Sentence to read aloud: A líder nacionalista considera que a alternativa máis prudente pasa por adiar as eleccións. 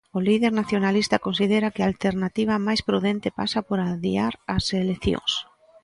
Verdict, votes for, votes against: rejected, 0, 2